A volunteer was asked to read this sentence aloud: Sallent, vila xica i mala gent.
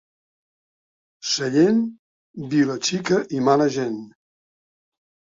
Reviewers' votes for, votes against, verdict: 2, 0, accepted